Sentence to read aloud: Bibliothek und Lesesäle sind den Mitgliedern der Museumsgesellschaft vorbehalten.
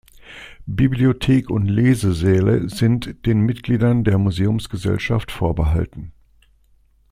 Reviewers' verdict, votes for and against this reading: accepted, 2, 0